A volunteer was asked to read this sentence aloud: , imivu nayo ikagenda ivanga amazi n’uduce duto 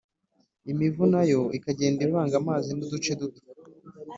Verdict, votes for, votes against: accepted, 3, 0